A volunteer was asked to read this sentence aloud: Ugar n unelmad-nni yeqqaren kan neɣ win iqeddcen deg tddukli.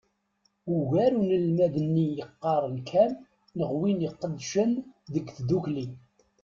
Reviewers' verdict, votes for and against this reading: accepted, 2, 0